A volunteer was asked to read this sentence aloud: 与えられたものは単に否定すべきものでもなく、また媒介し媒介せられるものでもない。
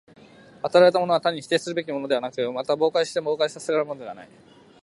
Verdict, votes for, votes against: rejected, 0, 2